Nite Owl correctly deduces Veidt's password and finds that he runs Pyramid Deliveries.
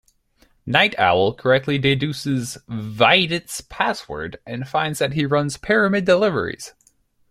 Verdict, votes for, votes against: accepted, 2, 0